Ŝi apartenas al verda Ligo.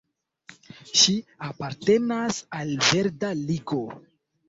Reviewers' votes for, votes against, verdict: 2, 0, accepted